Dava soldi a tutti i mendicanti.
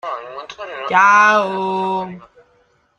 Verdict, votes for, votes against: rejected, 0, 2